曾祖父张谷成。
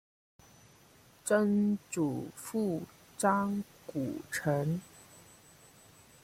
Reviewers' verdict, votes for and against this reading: rejected, 0, 2